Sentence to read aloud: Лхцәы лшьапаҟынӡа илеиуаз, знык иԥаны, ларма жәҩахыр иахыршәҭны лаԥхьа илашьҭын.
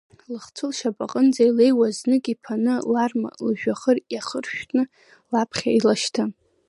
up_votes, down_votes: 2, 0